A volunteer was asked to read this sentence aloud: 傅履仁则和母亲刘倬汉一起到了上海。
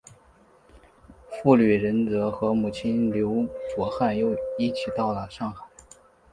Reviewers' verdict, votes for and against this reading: accepted, 4, 0